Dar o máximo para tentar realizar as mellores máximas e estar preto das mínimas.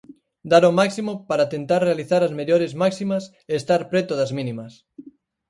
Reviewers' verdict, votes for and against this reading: accepted, 4, 0